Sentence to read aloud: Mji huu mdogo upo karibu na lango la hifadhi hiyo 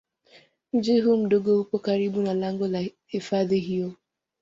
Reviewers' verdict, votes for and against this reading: accepted, 2, 1